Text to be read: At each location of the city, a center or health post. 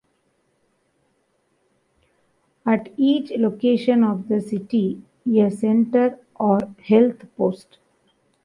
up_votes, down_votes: 1, 2